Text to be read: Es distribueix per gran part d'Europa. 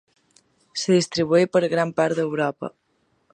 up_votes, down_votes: 0, 2